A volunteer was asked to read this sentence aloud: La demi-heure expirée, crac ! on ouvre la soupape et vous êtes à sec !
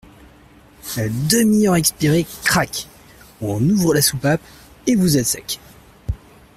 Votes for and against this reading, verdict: 0, 2, rejected